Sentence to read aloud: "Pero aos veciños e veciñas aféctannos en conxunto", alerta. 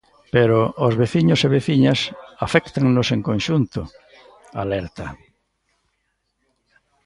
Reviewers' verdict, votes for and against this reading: accepted, 2, 0